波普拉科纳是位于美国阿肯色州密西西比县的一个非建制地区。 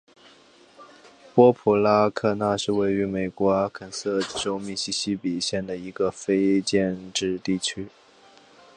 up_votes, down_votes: 2, 0